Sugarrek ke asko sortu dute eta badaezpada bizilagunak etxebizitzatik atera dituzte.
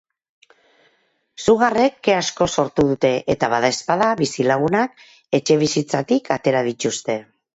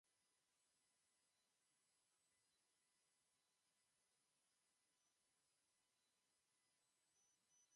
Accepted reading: first